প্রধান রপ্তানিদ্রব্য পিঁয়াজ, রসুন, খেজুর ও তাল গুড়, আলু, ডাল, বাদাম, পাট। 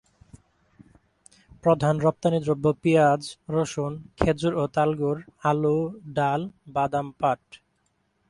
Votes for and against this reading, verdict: 2, 2, rejected